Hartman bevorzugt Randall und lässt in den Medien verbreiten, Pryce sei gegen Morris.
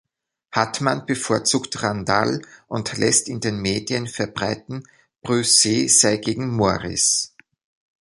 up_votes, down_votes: 0, 2